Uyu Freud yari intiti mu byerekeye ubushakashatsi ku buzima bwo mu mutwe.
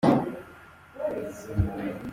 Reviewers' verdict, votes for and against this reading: rejected, 0, 2